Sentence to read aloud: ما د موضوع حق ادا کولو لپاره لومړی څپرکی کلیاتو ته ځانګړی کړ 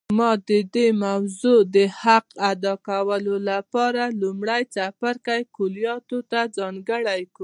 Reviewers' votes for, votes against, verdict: 1, 2, rejected